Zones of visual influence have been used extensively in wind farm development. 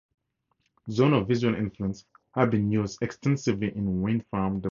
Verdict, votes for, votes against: accepted, 2, 0